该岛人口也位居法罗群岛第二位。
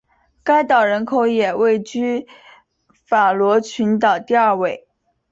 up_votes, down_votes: 2, 0